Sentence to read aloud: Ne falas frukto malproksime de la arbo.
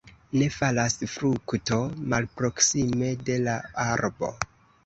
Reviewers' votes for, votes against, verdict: 2, 1, accepted